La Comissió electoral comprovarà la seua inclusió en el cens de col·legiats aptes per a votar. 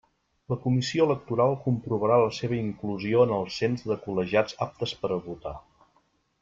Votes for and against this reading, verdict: 2, 0, accepted